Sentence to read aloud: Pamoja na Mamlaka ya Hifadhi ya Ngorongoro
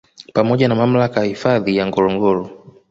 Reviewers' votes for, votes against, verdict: 0, 2, rejected